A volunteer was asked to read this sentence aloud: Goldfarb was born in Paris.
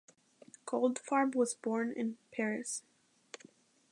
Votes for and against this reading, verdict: 2, 0, accepted